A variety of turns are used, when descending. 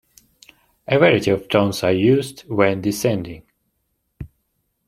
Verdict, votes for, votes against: accepted, 2, 0